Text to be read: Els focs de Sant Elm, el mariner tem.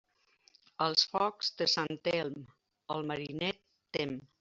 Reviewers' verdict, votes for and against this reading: rejected, 1, 2